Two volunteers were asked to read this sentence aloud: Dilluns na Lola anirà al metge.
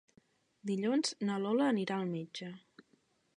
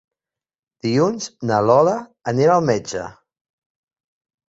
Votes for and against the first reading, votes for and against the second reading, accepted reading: 3, 0, 1, 2, first